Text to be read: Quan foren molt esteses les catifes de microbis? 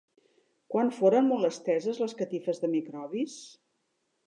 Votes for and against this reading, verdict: 3, 0, accepted